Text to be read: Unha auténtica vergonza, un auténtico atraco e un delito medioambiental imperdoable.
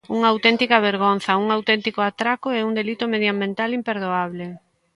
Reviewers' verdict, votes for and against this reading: accepted, 2, 0